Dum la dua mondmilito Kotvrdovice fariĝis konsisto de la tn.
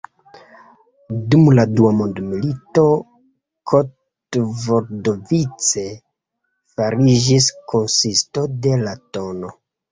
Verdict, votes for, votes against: rejected, 1, 2